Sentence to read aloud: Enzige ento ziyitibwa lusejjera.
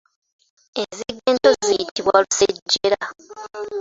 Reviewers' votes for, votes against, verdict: 2, 1, accepted